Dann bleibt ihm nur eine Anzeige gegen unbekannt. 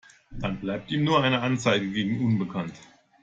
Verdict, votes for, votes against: accepted, 2, 0